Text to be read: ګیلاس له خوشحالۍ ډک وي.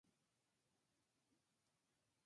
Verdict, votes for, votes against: rejected, 0, 2